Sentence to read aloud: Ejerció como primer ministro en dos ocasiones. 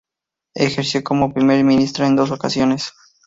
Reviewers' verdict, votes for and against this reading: rejected, 2, 2